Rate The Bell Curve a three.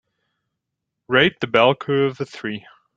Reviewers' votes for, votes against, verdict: 3, 0, accepted